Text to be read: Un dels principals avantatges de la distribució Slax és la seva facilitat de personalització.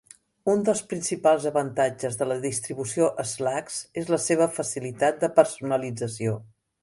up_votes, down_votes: 2, 0